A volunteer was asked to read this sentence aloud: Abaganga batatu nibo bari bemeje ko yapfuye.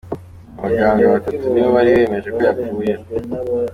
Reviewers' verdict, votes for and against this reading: accepted, 2, 1